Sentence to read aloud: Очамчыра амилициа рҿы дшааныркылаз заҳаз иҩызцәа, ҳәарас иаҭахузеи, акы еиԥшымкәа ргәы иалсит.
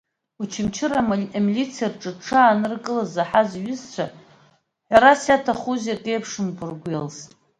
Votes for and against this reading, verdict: 2, 1, accepted